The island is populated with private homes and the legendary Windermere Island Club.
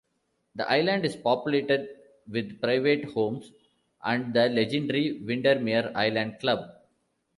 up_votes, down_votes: 2, 0